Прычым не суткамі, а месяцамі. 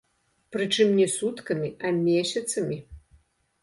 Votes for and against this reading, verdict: 2, 0, accepted